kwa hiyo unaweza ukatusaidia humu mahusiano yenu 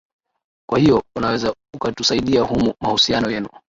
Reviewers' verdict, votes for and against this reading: rejected, 1, 2